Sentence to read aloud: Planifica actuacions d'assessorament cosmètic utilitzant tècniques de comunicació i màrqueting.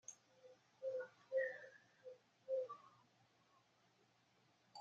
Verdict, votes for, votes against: rejected, 0, 2